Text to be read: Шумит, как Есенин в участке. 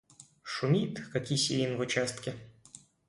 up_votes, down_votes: 2, 0